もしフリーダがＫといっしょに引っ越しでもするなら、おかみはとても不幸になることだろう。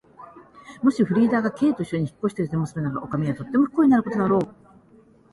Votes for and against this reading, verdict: 2, 0, accepted